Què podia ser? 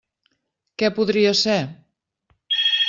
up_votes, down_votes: 1, 2